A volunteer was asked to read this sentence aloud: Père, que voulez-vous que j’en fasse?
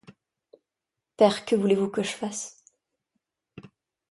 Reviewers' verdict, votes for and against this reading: rejected, 0, 3